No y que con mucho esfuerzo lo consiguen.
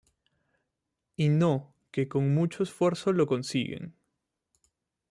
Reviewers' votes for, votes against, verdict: 1, 2, rejected